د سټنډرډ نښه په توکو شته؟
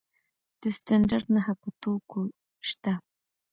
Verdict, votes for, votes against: rejected, 0, 2